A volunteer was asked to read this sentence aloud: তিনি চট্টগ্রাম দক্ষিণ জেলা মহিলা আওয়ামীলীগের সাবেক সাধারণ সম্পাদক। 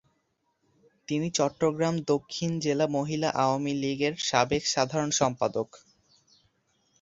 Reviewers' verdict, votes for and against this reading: accepted, 3, 0